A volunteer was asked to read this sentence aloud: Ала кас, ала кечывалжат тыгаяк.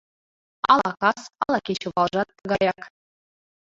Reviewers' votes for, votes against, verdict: 0, 2, rejected